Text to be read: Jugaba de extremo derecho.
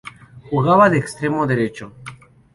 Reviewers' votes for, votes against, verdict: 2, 0, accepted